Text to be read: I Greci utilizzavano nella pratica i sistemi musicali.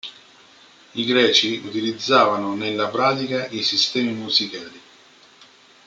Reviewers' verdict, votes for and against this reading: rejected, 0, 2